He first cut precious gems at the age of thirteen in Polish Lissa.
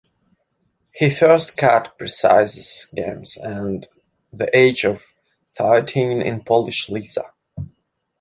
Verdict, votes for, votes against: rejected, 0, 2